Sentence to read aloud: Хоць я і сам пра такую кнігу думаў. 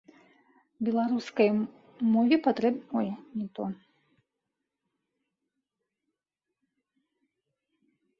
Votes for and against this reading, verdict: 0, 2, rejected